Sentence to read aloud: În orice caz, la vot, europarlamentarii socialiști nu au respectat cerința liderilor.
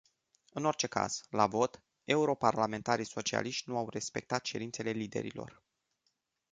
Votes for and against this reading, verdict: 0, 2, rejected